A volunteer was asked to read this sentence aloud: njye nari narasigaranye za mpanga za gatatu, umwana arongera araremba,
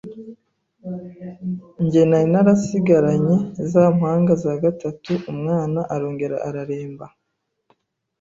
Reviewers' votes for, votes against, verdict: 2, 0, accepted